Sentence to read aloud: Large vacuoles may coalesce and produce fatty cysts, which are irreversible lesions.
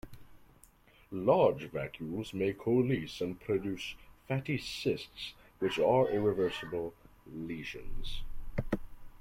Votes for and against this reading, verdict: 1, 2, rejected